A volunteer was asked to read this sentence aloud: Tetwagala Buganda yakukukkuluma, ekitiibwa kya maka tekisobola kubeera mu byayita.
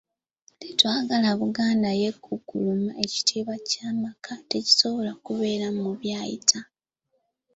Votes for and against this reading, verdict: 1, 2, rejected